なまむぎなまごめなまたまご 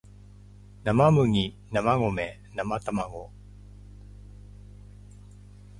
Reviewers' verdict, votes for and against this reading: accepted, 2, 0